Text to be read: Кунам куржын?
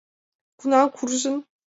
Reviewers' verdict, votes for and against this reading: accepted, 2, 1